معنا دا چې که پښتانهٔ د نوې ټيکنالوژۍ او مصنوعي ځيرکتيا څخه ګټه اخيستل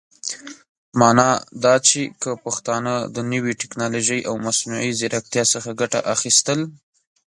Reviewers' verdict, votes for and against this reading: accepted, 2, 0